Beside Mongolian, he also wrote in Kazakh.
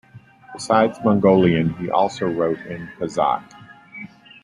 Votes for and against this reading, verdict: 1, 2, rejected